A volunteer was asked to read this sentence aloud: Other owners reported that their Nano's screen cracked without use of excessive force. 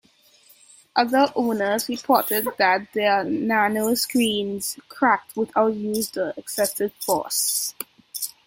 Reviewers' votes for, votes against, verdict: 2, 1, accepted